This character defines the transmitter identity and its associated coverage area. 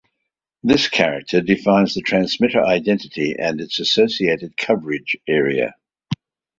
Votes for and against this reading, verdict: 2, 0, accepted